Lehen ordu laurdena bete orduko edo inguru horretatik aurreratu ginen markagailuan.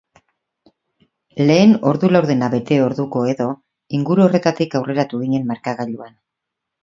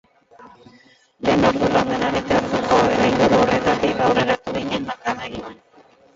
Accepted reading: first